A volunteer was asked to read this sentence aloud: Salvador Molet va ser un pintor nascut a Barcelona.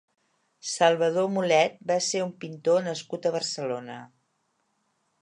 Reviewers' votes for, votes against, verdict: 4, 0, accepted